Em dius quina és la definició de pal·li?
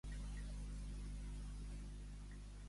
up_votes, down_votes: 1, 2